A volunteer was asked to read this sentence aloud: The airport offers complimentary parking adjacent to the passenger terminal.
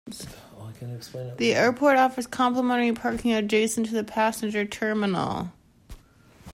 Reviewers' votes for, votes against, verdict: 1, 2, rejected